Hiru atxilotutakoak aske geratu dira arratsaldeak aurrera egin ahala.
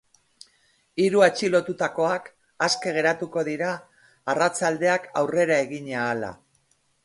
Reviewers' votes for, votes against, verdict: 1, 2, rejected